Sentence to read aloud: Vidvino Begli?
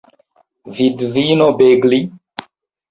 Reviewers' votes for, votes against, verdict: 2, 1, accepted